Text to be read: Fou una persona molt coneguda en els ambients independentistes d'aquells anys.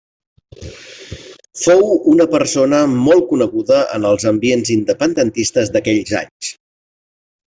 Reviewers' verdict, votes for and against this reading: accepted, 3, 0